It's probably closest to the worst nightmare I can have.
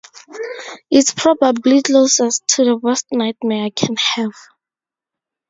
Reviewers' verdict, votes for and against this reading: accepted, 4, 0